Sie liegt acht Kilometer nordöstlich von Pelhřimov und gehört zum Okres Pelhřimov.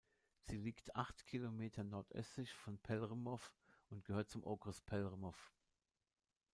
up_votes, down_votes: 0, 2